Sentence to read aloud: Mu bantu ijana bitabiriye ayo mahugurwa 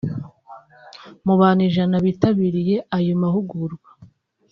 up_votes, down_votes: 3, 0